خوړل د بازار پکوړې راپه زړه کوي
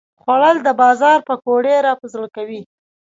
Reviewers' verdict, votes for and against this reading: accepted, 3, 0